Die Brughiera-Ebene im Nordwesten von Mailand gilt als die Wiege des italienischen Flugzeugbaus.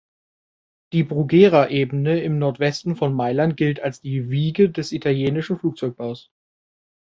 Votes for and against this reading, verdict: 2, 1, accepted